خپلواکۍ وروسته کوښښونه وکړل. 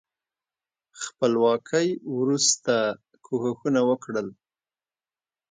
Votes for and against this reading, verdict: 2, 1, accepted